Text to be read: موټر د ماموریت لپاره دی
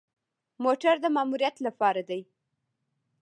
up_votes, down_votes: 2, 0